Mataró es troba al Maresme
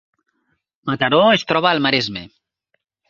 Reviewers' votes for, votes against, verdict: 3, 0, accepted